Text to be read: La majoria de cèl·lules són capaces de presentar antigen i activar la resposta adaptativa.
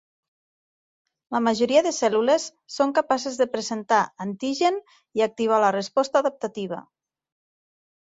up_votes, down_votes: 3, 0